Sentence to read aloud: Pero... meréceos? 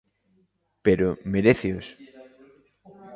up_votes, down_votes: 2, 0